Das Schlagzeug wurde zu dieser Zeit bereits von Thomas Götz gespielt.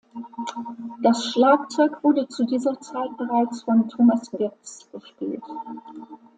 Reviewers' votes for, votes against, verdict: 2, 0, accepted